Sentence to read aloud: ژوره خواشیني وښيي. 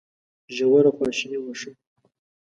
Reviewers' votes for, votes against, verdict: 2, 0, accepted